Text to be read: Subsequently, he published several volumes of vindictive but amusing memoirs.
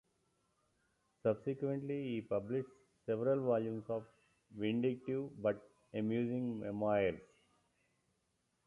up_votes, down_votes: 0, 2